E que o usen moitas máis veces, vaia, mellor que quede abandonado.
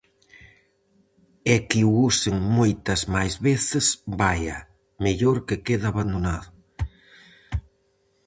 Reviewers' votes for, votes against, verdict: 4, 0, accepted